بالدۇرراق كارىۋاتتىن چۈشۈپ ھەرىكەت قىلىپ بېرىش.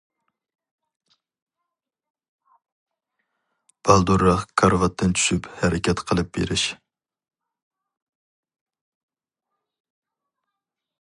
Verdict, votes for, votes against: accepted, 4, 0